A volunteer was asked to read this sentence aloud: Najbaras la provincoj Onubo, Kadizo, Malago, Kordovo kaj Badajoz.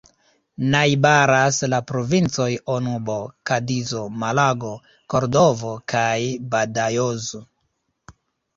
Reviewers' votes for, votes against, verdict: 0, 2, rejected